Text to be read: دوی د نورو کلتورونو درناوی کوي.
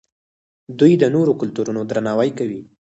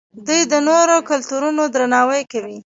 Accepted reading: first